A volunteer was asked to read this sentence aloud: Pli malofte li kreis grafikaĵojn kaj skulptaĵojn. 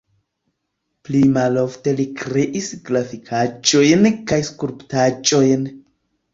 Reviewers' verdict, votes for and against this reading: rejected, 0, 2